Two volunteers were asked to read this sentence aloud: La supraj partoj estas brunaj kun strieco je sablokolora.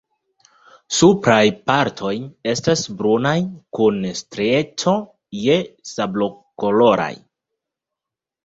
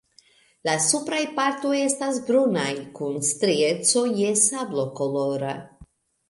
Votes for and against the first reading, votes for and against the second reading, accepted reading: 1, 3, 2, 0, second